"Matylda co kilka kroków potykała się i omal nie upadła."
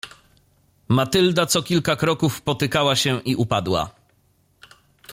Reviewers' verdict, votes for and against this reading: rejected, 0, 2